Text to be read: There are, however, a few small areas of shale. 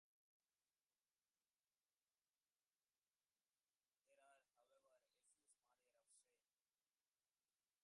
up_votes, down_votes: 0, 2